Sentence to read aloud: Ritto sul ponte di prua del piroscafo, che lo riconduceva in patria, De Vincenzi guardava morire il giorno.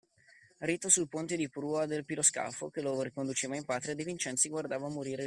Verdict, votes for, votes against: rejected, 0, 2